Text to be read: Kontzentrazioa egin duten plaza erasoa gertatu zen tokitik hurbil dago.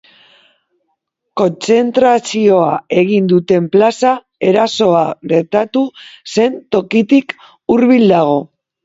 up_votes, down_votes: 3, 1